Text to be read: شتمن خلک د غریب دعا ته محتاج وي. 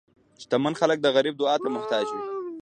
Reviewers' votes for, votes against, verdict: 2, 0, accepted